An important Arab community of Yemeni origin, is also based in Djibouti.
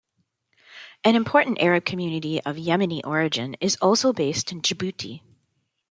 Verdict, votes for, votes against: accepted, 2, 0